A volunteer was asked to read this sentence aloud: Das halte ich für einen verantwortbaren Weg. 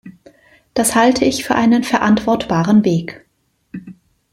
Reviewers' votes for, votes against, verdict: 2, 0, accepted